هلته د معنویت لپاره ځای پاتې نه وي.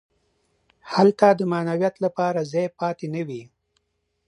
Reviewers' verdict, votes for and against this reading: accepted, 2, 0